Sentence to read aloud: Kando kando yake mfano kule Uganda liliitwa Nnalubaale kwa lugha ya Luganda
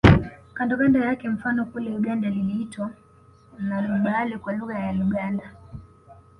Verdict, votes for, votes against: accepted, 2, 0